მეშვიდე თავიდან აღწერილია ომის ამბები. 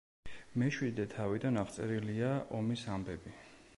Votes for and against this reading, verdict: 2, 0, accepted